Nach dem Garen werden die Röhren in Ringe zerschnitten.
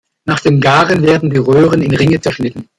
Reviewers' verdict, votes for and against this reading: accepted, 2, 0